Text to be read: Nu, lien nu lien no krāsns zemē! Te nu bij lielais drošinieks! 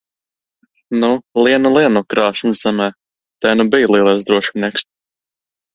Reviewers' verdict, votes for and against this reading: accepted, 2, 0